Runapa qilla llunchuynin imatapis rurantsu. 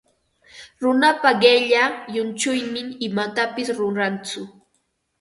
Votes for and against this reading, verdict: 4, 0, accepted